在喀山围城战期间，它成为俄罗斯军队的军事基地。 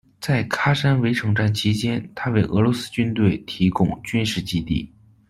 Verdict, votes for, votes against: rejected, 1, 2